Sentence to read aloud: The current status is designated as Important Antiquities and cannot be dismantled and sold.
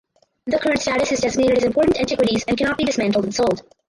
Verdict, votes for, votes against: rejected, 2, 4